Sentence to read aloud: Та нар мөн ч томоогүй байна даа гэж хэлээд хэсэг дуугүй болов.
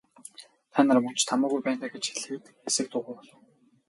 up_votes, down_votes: 6, 2